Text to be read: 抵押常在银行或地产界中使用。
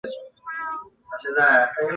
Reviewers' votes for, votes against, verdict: 0, 4, rejected